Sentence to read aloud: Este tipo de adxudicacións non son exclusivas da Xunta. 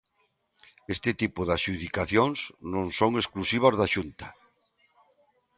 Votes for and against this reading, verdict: 2, 0, accepted